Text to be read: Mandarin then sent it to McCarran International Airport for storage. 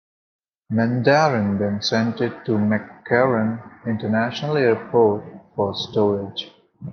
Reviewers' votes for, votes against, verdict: 0, 2, rejected